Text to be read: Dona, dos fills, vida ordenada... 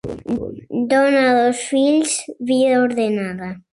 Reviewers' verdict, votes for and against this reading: accepted, 4, 0